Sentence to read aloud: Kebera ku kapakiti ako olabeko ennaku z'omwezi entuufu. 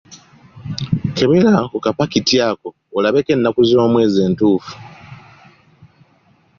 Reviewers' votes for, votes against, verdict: 2, 0, accepted